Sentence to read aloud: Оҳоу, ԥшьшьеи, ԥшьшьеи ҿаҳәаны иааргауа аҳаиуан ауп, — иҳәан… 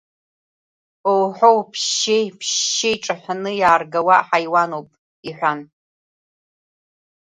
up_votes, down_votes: 2, 0